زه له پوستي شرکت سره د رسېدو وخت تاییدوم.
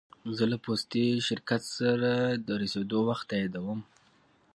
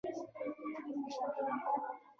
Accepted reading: first